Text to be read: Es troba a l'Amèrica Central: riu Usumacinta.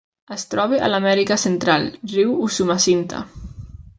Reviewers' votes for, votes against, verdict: 2, 0, accepted